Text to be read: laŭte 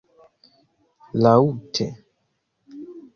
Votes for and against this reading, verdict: 1, 2, rejected